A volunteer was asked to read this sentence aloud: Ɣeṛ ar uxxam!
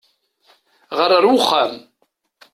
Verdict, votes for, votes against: accepted, 2, 0